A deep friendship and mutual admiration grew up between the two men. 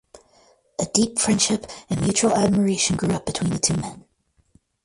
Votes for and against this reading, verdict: 4, 0, accepted